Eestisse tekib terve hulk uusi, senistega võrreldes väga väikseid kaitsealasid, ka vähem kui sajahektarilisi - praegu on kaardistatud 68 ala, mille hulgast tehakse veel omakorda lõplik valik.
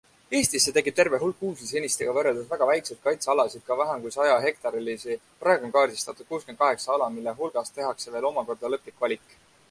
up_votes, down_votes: 0, 2